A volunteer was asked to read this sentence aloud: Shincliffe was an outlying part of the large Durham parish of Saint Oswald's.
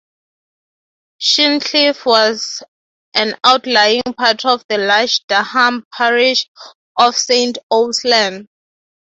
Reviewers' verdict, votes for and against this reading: rejected, 0, 3